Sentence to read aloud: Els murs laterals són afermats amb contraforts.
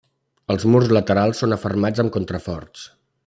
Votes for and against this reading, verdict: 3, 0, accepted